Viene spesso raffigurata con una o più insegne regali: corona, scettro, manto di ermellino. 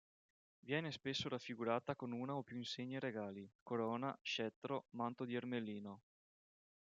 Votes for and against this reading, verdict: 2, 0, accepted